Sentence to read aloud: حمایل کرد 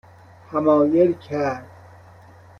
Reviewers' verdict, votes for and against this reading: accepted, 2, 0